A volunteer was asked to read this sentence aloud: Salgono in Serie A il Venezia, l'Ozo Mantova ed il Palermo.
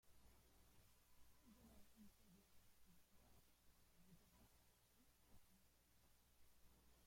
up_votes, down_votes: 0, 2